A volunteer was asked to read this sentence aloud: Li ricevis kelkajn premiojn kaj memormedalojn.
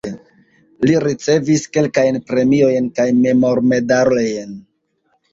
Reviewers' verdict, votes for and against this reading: rejected, 1, 2